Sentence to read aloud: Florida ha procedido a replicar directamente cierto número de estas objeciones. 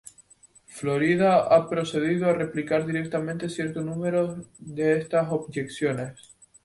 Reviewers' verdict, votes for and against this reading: rejected, 0, 2